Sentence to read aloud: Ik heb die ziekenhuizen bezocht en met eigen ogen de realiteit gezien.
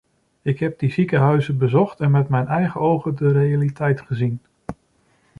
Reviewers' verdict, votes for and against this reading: rejected, 1, 2